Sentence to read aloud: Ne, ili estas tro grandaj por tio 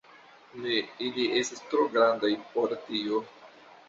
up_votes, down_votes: 2, 0